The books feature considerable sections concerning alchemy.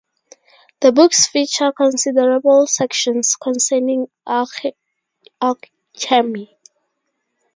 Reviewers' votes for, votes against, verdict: 0, 2, rejected